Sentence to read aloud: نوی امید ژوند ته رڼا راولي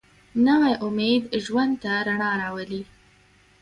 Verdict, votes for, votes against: accepted, 2, 0